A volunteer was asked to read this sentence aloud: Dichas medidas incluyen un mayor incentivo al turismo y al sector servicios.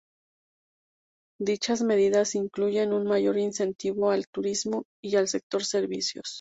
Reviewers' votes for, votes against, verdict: 2, 0, accepted